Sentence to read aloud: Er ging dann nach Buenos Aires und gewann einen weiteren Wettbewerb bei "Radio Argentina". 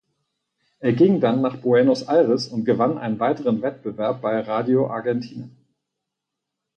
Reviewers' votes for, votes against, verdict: 2, 4, rejected